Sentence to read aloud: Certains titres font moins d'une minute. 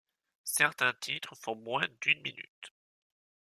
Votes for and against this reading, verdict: 2, 0, accepted